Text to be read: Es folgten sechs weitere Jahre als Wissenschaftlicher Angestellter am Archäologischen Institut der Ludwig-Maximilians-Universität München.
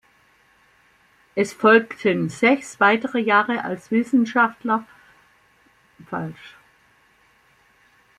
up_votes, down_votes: 0, 2